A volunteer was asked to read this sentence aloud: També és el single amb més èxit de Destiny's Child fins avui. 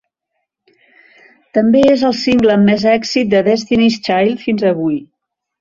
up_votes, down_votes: 1, 2